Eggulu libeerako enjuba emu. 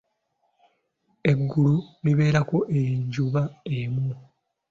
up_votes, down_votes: 2, 0